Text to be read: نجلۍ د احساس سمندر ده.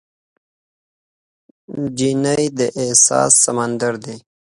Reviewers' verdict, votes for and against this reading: accepted, 2, 1